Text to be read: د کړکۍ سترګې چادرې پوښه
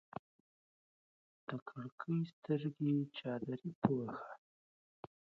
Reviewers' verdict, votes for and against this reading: rejected, 1, 2